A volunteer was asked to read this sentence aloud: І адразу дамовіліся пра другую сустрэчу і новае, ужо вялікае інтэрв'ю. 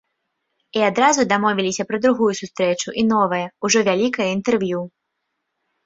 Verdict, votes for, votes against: accepted, 2, 0